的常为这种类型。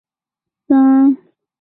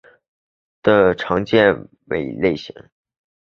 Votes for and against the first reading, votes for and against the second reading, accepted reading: 0, 2, 3, 2, second